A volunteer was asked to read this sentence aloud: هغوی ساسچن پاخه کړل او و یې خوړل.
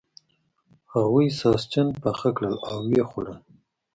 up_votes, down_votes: 2, 0